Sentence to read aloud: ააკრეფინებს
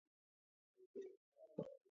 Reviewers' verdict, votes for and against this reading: rejected, 0, 2